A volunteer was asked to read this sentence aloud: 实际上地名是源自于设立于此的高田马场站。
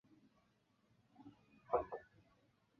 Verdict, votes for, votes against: rejected, 1, 2